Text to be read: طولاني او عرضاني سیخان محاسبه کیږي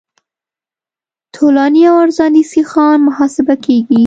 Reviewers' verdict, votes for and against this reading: accepted, 2, 0